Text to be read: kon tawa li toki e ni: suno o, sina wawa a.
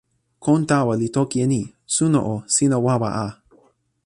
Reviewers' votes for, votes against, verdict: 2, 0, accepted